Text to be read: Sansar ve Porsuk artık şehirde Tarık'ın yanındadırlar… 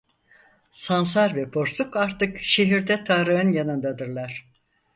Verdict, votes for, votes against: accepted, 4, 0